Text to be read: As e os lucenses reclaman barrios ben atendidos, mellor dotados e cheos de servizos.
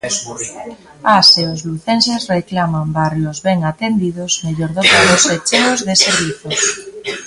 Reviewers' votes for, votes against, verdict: 1, 2, rejected